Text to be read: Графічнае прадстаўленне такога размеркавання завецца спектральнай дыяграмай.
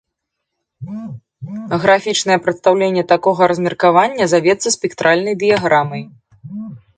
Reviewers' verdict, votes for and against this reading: accepted, 2, 0